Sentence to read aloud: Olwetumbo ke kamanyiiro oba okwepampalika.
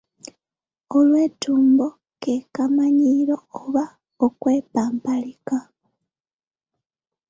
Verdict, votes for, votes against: accepted, 2, 1